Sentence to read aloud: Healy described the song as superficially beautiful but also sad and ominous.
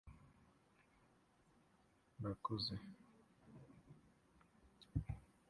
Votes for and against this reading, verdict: 0, 2, rejected